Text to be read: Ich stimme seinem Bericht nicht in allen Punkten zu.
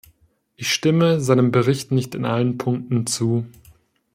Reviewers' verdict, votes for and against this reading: accepted, 2, 0